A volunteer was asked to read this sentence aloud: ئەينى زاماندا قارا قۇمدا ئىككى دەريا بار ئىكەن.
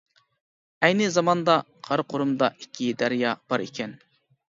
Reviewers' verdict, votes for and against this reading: rejected, 1, 2